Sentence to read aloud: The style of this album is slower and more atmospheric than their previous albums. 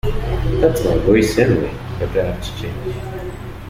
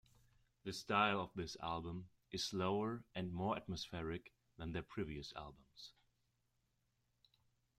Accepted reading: second